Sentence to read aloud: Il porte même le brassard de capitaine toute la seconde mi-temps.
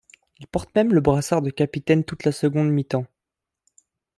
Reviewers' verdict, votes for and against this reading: accepted, 3, 0